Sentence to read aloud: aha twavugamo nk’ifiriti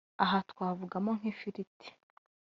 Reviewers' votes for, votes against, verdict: 1, 2, rejected